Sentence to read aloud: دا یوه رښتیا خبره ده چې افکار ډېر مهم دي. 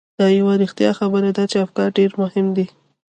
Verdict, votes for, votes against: accepted, 2, 0